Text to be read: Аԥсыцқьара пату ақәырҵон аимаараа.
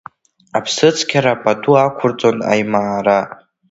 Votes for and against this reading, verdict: 0, 2, rejected